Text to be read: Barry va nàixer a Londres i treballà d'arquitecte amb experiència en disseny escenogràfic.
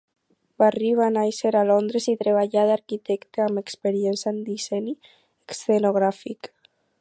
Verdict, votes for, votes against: rejected, 2, 6